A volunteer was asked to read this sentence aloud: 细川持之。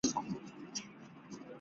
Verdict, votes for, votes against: rejected, 0, 2